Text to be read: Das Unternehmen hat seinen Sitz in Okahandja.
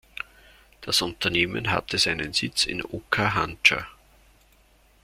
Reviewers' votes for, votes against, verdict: 1, 2, rejected